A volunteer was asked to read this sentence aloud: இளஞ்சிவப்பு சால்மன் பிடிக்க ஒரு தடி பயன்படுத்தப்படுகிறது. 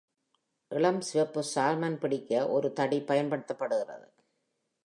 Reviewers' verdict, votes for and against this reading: accepted, 2, 0